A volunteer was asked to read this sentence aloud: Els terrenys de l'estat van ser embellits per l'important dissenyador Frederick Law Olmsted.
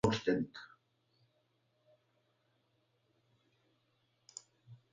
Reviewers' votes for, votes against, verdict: 0, 2, rejected